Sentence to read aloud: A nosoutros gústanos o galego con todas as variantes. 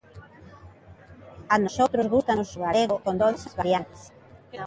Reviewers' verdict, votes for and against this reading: rejected, 0, 2